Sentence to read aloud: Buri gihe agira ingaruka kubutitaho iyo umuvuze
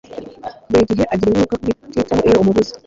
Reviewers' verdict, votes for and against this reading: rejected, 1, 2